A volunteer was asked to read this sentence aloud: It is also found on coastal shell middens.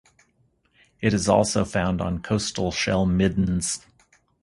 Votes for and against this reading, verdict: 4, 0, accepted